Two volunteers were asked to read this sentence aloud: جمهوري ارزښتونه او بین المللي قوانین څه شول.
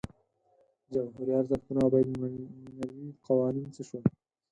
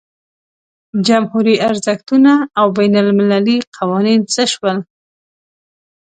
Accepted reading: second